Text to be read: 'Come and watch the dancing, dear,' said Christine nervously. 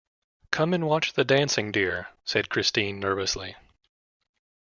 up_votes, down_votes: 2, 0